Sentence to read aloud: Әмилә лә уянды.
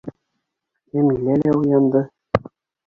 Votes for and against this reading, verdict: 1, 2, rejected